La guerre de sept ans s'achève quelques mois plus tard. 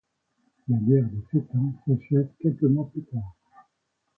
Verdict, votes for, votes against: accepted, 2, 1